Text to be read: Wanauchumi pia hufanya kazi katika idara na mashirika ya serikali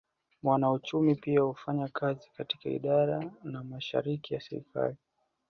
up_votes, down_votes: 2, 0